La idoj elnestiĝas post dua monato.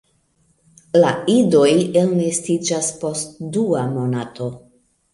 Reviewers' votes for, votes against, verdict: 2, 0, accepted